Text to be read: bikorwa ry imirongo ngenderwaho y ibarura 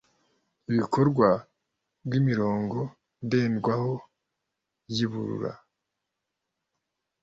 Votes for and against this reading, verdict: 0, 2, rejected